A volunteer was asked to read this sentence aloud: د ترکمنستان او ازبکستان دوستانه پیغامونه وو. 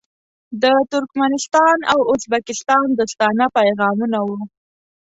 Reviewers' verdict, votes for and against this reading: accepted, 2, 0